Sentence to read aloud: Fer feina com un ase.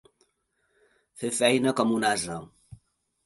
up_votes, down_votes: 2, 0